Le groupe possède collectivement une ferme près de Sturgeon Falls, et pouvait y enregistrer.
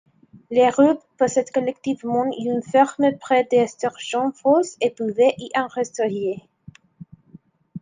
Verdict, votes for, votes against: rejected, 1, 2